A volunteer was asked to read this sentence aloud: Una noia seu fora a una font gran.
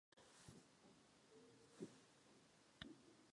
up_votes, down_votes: 0, 2